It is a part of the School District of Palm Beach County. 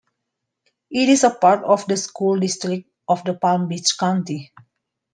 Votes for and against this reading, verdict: 0, 2, rejected